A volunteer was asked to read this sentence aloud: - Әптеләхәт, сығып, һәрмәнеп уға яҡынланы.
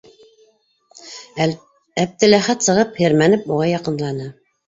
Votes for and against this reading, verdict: 2, 3, rejected